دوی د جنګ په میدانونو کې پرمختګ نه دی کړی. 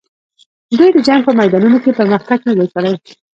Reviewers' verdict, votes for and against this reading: rejected, 1, 2